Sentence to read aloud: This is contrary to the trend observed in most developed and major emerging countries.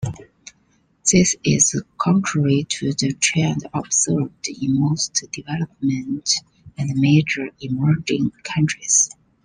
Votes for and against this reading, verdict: 0, 2, rejected